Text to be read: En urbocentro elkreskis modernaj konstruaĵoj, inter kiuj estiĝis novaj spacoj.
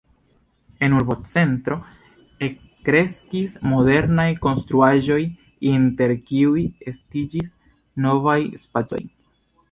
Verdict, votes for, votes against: accepted, 2, 0